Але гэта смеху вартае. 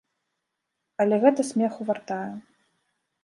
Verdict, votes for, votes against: rejected, 0, 2